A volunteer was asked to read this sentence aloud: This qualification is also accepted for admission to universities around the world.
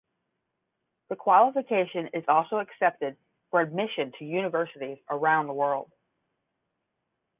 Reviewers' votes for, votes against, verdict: 5, 5, rejected